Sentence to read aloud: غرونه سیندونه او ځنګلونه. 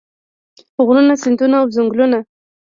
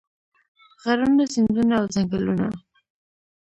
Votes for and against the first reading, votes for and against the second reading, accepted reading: 2, 1, 1, 2, first